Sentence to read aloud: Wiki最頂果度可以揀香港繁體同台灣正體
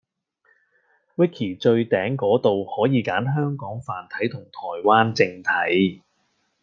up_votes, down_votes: 2, 0